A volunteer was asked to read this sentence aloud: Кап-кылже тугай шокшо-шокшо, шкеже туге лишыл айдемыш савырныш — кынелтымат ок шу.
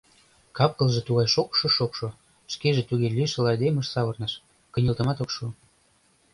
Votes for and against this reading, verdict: 2, 0, accepted